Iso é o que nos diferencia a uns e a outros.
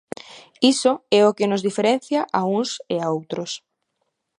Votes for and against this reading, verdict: 2, 0, accepted